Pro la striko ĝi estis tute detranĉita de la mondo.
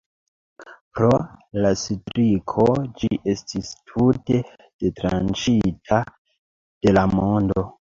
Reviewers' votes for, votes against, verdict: 2, 1, accepted